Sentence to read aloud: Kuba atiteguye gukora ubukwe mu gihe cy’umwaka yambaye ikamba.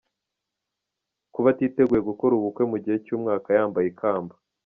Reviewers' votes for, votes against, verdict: 2, 1, accepted